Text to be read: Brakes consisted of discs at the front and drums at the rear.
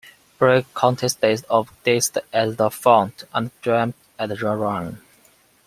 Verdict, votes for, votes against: rejected, 0, 2